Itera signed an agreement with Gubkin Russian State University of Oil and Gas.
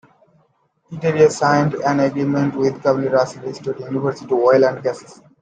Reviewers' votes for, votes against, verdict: 0, 2, rejected